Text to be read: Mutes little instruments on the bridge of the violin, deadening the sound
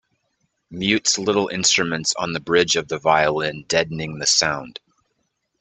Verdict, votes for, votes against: accepted, 2, 0